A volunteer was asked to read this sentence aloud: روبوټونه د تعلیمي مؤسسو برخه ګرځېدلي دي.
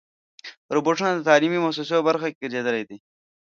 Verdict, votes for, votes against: rejected, 1, 2